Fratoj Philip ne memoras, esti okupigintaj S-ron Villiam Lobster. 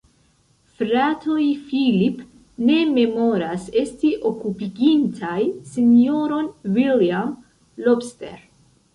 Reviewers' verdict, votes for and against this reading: accepted, 2, 0